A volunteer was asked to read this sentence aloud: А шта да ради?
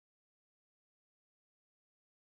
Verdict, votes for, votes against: rejected, 0, 2